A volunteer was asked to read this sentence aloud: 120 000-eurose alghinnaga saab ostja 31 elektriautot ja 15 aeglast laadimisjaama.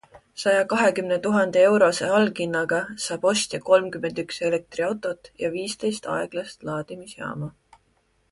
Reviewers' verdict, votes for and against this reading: rejected, 0, 2